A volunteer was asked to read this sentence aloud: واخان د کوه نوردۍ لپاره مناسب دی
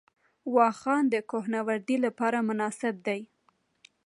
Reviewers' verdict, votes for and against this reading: accepted, 2, 0